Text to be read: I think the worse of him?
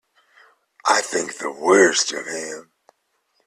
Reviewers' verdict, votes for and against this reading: rejected, 1, 2